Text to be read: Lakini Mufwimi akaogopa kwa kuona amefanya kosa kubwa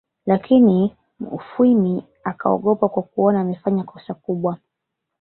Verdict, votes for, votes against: accepted, 2, 0